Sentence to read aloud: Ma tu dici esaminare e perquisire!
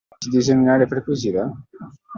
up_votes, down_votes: 0, 2